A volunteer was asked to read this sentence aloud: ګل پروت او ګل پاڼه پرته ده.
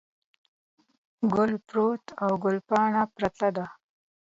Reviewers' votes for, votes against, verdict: 2, 0, accepted